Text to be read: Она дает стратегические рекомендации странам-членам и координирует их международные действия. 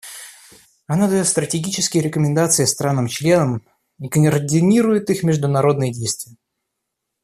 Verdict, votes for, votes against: rejected, 1, 2